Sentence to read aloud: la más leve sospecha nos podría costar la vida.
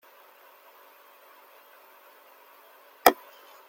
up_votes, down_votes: 0, 2